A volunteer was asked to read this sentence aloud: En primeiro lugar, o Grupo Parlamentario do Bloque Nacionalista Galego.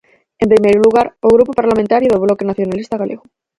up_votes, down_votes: 4, 0